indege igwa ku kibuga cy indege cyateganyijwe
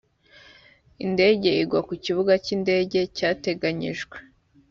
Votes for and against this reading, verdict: 4, 0, accepted